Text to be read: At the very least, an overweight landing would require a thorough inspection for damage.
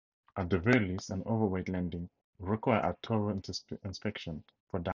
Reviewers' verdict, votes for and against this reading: rejected, 0, 2